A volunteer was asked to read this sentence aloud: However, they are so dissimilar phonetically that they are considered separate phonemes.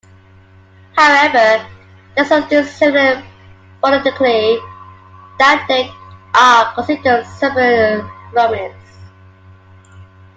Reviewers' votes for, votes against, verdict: 0, 2, rejected